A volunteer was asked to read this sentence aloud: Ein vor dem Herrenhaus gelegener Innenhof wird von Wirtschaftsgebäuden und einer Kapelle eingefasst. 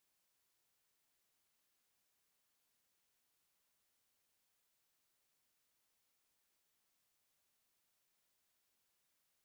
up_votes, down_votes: 0, 2